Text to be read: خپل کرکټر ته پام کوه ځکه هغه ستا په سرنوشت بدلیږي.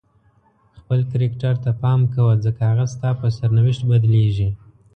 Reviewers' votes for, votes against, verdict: 2, 0, accepted